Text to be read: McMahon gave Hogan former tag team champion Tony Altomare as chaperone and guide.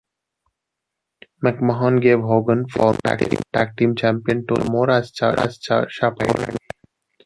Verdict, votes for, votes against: rejected, 0, 2